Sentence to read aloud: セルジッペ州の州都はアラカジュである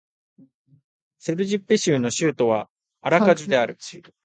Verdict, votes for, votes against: rejected, 1, 2